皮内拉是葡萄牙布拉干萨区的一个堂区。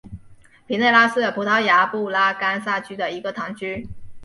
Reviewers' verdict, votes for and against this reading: accepted, 2, 1